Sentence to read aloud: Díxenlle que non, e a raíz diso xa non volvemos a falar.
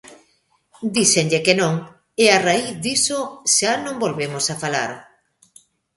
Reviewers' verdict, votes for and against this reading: accepted, 2, 0